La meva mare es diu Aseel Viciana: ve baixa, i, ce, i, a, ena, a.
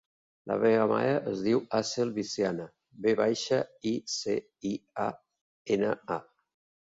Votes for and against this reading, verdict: 2, 0, accepted